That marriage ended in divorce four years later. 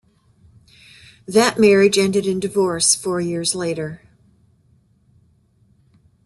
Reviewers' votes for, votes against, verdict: 2, 0, accepted